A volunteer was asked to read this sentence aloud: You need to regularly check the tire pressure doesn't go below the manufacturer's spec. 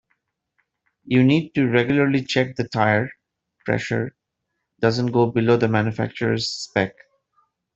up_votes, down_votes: 1, 2